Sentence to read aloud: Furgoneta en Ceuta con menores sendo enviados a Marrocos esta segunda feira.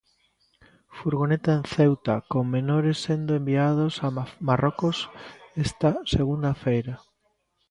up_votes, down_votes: 0, 2